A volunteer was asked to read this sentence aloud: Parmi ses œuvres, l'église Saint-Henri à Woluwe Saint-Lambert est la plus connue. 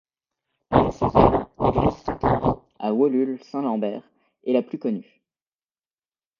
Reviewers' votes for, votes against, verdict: 0, 2, rejected